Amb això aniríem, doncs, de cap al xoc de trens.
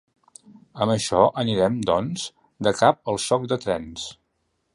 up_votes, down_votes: 0, 2